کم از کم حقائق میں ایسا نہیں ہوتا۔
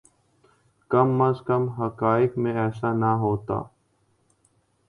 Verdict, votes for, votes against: rejected, 0, 2